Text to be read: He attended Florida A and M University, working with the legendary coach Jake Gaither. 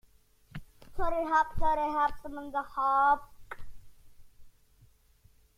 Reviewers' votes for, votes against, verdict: 0, 2, rejected